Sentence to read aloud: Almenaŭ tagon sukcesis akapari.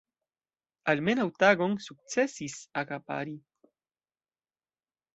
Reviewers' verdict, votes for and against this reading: accepted, 2, 0